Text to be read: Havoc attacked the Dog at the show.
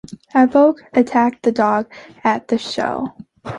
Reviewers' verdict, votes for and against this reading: accepted, 2, 0